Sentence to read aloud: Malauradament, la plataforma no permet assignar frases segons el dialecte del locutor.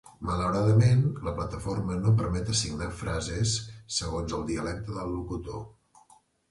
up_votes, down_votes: 3, 0